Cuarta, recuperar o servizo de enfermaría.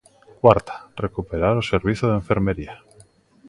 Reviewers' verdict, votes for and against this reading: rejected, 0, 2